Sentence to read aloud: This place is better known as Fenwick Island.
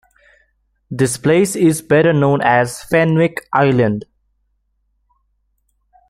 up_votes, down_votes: 2, 1